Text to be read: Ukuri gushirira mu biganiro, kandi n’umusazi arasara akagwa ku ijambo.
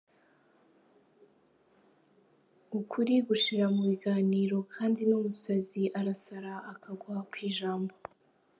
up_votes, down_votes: 2, 1